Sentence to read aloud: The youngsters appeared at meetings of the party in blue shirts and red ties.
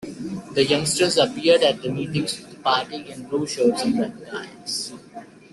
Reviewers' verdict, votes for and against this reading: accepted, 2, 0